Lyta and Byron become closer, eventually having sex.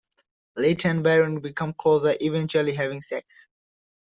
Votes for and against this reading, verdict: 1, 2, rejected